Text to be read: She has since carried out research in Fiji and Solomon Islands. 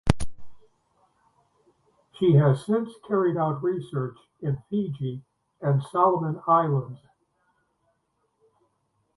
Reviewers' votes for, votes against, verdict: 0, 2, rejected